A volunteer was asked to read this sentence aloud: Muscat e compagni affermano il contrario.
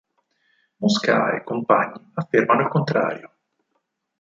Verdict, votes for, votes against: rejected, 2, 4